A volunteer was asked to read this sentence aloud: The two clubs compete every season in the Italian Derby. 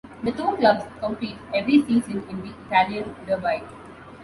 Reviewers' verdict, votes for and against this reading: accepted, 2, 0